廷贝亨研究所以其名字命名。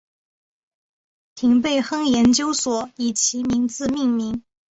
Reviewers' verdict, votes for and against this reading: accepted, 3, 0